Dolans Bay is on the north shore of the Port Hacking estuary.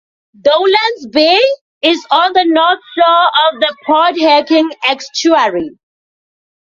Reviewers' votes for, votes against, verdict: 4, 1, accepted